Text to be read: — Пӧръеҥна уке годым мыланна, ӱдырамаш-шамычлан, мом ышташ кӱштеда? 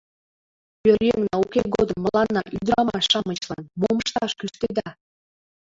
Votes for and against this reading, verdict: 0, 2, rejected